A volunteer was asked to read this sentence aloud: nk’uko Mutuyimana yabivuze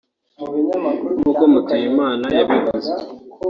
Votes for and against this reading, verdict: 2, 1, accepted